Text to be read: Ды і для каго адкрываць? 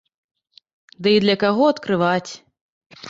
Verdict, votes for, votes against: rejected, 1, 2